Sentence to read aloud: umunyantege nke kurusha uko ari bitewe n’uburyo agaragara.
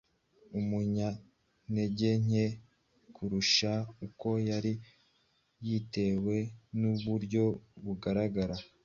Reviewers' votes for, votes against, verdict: 2, 0, accepted